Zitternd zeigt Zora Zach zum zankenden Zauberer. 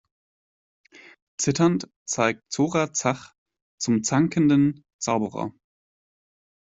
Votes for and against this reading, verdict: 2, 0, accepted